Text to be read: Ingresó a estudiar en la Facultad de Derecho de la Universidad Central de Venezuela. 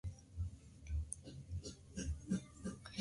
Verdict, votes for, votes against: rejected, 0, 2